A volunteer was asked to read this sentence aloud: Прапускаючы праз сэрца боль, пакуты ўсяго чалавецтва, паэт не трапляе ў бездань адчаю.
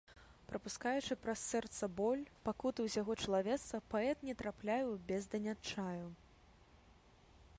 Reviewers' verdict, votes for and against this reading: accepted, 4, 0